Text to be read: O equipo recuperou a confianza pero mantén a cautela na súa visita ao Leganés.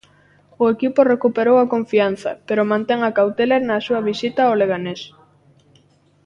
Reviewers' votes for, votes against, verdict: 2, 0, accepted